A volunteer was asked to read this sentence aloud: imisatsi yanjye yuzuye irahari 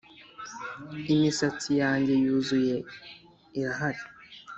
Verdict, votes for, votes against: accepted, 2, 1